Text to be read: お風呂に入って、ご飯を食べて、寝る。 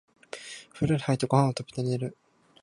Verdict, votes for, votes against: rejected, 2, 2